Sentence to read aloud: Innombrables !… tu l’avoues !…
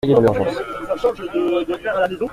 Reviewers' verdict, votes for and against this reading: rejected, 0, 3